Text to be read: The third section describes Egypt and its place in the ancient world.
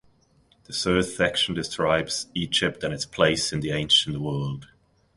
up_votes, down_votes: 1, 2